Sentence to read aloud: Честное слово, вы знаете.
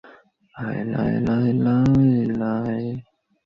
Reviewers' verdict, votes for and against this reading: rejected, 0, 2